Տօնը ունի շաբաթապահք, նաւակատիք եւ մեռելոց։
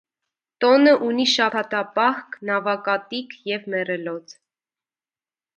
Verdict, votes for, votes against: accepted, 2, 0